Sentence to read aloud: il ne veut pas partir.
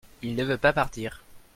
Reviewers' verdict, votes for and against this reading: accepted, 2, 0